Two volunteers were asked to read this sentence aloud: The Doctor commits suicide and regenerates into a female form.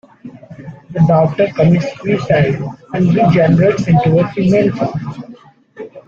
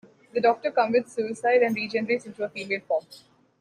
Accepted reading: second